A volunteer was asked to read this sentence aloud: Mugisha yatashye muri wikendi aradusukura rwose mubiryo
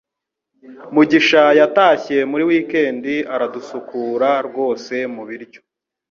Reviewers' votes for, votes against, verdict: 2, 0, accepted